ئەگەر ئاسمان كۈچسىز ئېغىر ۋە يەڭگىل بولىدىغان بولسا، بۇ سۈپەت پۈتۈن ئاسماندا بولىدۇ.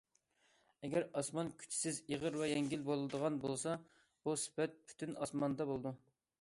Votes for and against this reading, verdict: 2, 0, accepted